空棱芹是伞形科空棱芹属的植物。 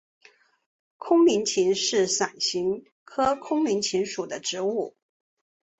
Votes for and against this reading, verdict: 1, 2, rejected